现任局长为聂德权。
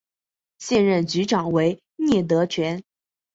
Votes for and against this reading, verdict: 2, 1, accepted